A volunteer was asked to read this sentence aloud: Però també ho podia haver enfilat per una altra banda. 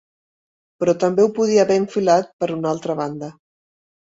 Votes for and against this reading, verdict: 3, 0, accepted